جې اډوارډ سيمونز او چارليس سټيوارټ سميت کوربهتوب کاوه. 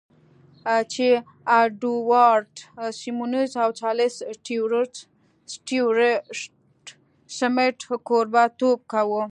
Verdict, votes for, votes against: rejected, 1, 2